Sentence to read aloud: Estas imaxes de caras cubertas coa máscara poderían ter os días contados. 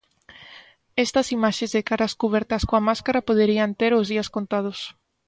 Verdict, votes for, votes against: accepted, 2, 0